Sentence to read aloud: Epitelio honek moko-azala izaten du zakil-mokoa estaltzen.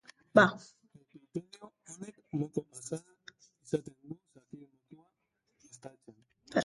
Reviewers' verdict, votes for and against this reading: rejected, 0, 5